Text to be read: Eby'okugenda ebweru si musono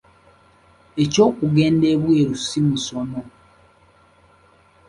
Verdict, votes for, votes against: rejected, 1, 2